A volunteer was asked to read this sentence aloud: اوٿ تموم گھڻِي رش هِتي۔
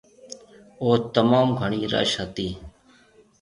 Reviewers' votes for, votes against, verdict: 2, 0, accepted